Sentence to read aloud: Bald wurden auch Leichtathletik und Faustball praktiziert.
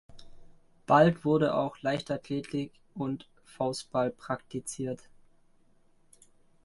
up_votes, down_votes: 0, 2